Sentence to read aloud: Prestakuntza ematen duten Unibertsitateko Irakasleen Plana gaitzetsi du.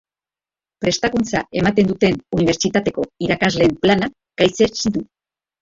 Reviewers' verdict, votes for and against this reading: rejected, 1, 2